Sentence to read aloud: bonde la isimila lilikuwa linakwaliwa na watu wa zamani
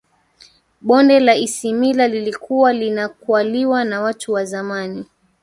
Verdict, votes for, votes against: rejected, 1, 2